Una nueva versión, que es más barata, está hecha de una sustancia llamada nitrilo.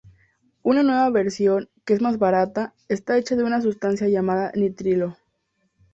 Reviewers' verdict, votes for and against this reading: accepted, 2, 0